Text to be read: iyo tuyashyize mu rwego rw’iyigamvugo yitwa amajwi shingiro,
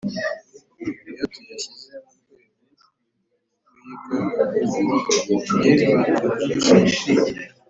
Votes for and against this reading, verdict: 0, 2, rejected